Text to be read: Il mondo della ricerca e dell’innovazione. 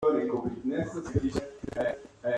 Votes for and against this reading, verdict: 0, 2, rejected